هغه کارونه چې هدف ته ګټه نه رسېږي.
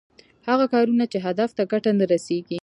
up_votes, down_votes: 2, 0